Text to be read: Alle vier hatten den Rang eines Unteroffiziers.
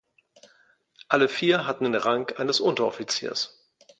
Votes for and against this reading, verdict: 3, 0, accepted